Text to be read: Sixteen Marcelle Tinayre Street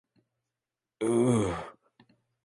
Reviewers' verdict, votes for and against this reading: rejected, 0, 2